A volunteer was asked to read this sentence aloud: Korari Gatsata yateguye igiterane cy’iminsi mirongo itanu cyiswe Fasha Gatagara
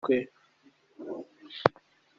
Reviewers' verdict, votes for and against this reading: rejected, 0, 2